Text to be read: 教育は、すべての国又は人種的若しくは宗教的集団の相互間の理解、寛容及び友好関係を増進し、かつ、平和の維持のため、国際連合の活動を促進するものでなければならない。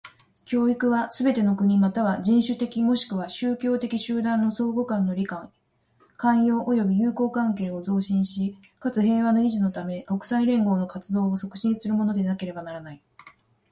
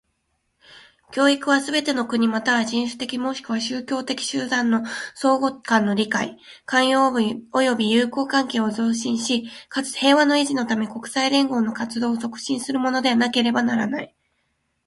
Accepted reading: second